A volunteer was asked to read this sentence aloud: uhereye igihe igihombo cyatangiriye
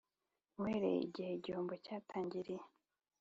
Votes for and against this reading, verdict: 2, 0, accepted